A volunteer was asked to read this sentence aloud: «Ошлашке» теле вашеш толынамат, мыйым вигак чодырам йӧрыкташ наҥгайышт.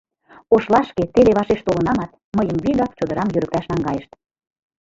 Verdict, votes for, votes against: rejected, 0, 2